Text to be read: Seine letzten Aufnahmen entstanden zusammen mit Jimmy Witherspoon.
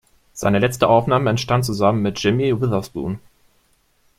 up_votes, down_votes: 0, 2